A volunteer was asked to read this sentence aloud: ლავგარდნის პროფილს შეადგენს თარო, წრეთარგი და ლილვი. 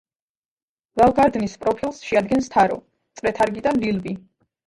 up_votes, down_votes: 1, 2